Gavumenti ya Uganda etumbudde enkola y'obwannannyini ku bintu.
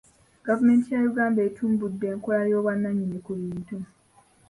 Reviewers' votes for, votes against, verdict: 2, 1, accepted